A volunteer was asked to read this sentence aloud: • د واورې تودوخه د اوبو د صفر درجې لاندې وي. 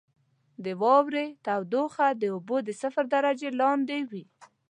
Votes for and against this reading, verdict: 2, 0, accepted